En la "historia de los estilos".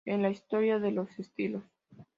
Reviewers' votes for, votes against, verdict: 2, 0, accepted